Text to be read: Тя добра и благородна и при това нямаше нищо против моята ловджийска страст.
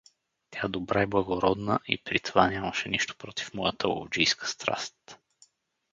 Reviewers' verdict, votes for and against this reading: accepted, 4, 0